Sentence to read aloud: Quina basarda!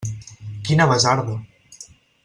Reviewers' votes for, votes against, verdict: 4, 0, accepted